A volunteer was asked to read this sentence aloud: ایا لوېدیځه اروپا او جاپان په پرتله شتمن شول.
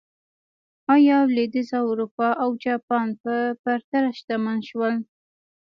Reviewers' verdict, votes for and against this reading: accepted, 2, 0